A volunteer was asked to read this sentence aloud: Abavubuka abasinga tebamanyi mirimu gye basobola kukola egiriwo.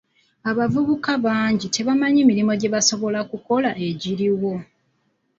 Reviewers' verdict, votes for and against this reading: rejected, 0, 2